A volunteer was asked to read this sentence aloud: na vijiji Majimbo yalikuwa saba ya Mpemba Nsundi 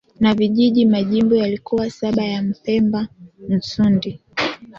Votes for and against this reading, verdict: 2, 0, accepted